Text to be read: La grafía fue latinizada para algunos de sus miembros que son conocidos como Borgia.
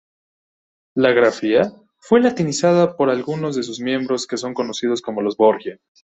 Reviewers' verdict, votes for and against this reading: rejected, 1, 2